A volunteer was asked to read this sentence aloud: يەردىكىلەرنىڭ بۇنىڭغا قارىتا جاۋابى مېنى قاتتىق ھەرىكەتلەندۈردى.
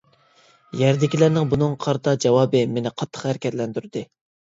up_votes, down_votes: 2, 0